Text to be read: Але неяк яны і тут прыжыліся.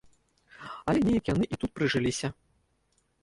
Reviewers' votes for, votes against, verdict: 0, 2, rejected